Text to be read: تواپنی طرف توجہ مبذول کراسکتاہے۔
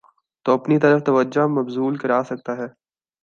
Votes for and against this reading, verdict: 2, 0, accepted